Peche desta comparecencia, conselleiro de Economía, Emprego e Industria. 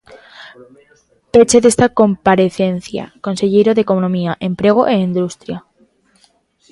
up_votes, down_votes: 2, 0